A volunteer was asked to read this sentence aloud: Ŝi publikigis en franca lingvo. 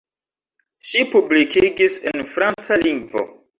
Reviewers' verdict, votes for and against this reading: rejected, 1, 2